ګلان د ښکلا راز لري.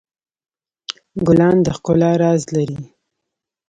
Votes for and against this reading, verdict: 1, 2, rejected